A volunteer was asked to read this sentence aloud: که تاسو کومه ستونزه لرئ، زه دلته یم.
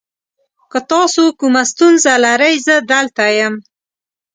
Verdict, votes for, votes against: accepted, 2, 0